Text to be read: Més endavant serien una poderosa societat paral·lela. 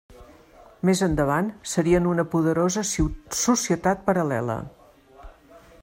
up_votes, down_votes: 1, 2